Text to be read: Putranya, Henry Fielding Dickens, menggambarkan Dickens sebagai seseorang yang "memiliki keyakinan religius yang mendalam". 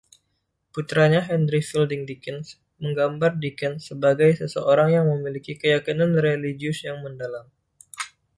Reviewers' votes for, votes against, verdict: 1, 2, rejected